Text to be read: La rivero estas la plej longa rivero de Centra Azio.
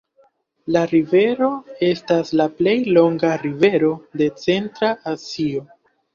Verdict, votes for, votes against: accepted, 2, 0